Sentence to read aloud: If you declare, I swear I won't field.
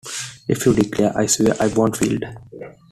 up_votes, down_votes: 2, 1